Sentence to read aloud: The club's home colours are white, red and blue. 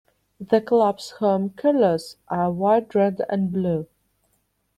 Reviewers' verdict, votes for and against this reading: accepted, 2, 0